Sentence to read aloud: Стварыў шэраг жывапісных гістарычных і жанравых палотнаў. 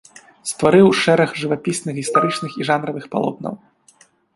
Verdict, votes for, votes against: rejected, 1, 2